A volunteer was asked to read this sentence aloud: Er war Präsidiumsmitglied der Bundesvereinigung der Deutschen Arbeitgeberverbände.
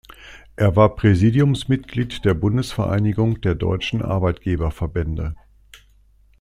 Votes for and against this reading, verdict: 2, 0, accepted